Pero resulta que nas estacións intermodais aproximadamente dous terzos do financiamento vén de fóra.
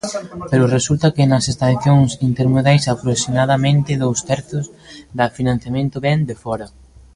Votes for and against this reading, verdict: 0, 2, rejected